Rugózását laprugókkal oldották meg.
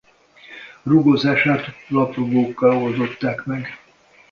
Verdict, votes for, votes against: rejected, 0, 2